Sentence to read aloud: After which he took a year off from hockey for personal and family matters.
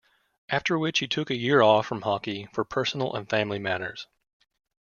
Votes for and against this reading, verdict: 2, 0, accepted